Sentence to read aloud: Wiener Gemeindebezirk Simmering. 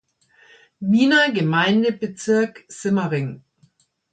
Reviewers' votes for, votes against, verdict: 2, 0, accepted